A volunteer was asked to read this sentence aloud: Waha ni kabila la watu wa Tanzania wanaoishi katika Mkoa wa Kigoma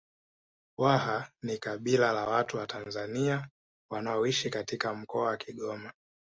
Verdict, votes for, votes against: rejected, 0, 2